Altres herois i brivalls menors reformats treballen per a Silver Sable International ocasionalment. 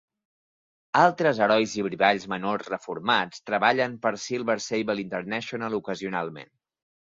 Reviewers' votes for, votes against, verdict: 0, 2, rejected